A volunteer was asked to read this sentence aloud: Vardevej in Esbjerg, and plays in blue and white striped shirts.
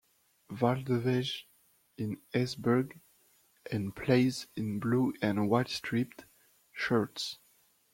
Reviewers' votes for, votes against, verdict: 0, 2, rejected